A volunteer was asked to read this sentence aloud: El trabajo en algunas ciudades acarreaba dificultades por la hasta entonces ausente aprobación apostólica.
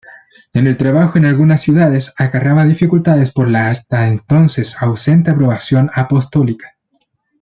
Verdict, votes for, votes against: rejected, 0, 2